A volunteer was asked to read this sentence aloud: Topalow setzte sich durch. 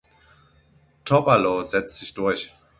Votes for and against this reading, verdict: 3, 6, rejected